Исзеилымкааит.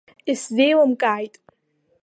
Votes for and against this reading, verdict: 2, 0, accepted